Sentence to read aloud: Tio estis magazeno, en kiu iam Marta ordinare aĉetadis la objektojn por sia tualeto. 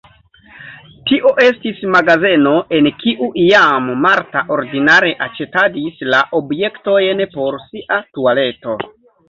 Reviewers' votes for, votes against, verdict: 2, 0, accepted